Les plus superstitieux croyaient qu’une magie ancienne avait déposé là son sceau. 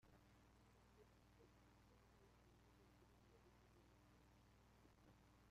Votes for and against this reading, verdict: 0, 2, rejected